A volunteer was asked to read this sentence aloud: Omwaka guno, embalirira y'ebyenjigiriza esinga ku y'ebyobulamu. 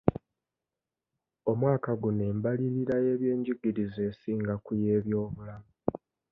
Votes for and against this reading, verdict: 2, 0, accepted